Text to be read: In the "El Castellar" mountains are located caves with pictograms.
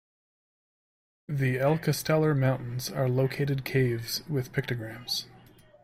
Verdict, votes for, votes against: rejected, 0, 2